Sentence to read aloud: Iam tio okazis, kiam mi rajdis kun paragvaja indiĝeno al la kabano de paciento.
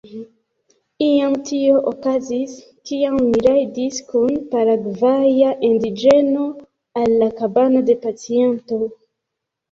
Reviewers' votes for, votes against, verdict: 1, 2, rejected